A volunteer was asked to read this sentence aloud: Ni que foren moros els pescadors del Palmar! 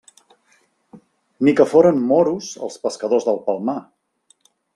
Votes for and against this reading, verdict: 2, 0, accepted